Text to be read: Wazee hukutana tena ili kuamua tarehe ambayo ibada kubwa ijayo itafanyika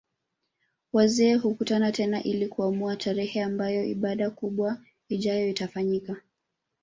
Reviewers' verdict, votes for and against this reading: rejected, 0, 2